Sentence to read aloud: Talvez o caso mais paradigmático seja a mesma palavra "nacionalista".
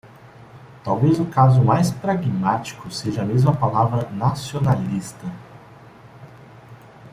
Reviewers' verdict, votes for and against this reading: rejected, 1, 2